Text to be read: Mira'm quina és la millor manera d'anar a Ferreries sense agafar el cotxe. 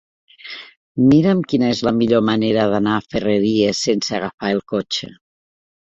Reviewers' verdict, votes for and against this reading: accepted, 2, 0